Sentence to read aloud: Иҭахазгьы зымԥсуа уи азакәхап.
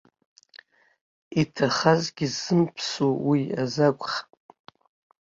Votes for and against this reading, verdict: 1, 2, rejected